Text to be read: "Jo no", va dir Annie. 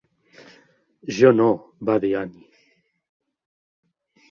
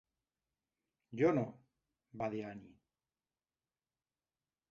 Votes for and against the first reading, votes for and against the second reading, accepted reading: 2, 0, 1, 2, first